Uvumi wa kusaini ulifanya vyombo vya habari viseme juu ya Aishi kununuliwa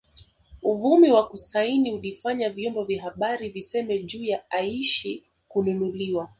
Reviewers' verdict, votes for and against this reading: accepted, 3, 0